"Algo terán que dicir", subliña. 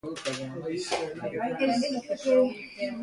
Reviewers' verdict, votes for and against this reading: rejected, 0, 2